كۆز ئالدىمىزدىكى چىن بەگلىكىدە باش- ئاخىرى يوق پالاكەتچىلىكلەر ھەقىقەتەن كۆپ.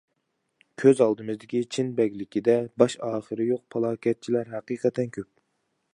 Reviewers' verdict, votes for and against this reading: rejected, 0, 2